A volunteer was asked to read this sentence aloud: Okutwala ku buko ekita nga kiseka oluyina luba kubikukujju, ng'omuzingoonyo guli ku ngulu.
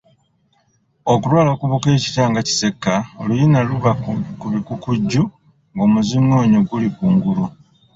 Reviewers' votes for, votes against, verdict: 0, 2, rejected